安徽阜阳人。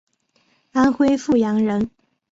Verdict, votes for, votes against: accepted, 2, 0